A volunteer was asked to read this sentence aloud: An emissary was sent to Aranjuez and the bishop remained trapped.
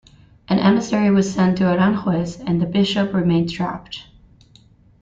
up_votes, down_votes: 2, 0